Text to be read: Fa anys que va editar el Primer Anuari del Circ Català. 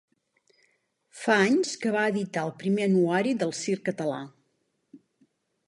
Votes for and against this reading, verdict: 2, 0, accepted